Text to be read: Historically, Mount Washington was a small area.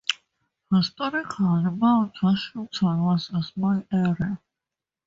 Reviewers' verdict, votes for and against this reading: accepted, 2, 0